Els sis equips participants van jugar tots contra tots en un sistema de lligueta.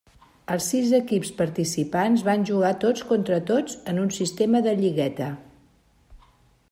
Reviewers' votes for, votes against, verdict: 3, 0, accepted